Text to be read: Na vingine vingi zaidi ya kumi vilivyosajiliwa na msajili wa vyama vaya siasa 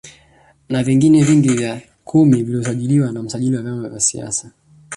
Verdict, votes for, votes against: rejected, 1, 2